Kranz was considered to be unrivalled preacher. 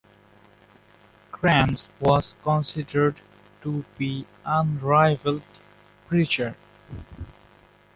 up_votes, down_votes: 2, 1